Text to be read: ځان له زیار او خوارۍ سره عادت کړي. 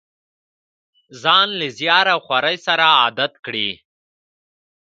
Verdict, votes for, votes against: rejected, 1, 2